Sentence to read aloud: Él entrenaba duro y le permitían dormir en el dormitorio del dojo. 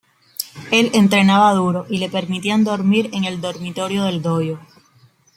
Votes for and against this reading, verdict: 2, 0, accepted